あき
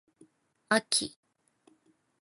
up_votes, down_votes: 0, 2